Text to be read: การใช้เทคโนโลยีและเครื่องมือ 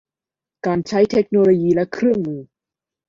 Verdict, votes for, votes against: accepted, 2, 0